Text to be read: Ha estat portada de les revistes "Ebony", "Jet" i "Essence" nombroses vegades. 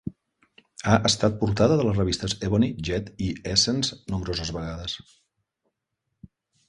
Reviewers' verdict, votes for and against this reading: accepted, 2, 0